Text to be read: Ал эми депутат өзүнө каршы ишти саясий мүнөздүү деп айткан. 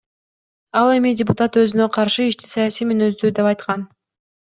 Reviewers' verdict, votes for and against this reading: accepted, 2, 0